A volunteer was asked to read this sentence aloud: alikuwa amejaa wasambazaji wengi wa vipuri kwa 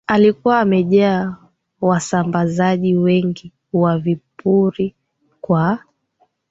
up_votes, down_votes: 2, 0